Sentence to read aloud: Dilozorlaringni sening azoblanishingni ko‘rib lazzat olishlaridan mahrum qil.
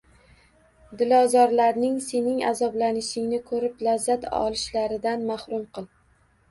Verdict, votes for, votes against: rejected, 1, 2